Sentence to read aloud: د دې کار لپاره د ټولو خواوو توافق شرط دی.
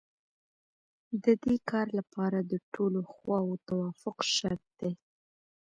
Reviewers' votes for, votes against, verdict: 2, 1, accepted